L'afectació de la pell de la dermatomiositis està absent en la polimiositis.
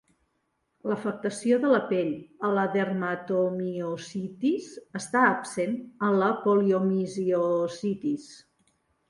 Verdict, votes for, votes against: rejected, 0, 2